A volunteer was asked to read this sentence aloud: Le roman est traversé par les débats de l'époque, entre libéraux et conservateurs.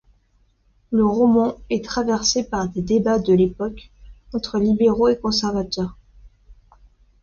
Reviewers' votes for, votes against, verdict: 2, 0, accepted